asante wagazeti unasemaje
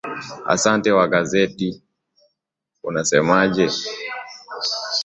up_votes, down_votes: 1, 2